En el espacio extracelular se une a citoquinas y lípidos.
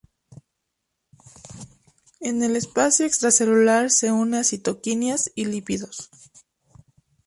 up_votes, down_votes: 2, 2